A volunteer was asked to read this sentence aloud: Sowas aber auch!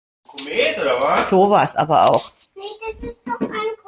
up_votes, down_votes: 1, 2